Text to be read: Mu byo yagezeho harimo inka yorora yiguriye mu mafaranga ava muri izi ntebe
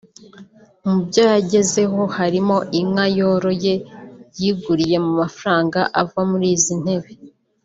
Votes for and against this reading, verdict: 1, 2, rejected